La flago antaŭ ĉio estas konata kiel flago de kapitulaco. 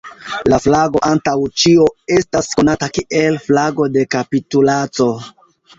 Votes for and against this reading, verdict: 1, 2, rejected